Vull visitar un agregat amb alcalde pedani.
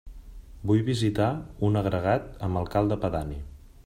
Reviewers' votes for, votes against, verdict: 2, 0, accepted